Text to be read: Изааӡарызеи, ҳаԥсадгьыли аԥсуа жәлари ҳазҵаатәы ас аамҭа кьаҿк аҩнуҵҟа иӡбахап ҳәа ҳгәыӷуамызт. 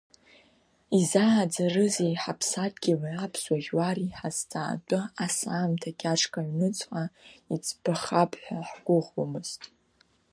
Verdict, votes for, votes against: rejected, 0, 2